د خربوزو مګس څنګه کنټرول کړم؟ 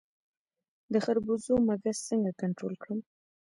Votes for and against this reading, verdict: 2, 3, rejected